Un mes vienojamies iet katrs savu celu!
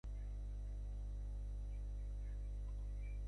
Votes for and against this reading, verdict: 0, 2, rejected